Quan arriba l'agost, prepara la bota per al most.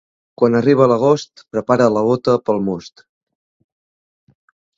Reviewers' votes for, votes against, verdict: 0, 2, rejected